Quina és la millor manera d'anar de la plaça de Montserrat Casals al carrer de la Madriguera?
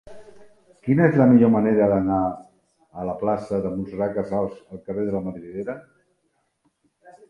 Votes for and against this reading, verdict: 0, 2, rejected